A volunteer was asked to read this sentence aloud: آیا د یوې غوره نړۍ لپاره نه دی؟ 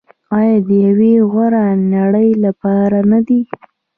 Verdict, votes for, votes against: accepted, 3, 0